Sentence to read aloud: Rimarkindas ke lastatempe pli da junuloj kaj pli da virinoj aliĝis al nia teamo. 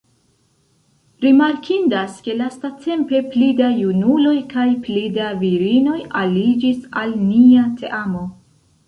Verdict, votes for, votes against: accepted, 2, 0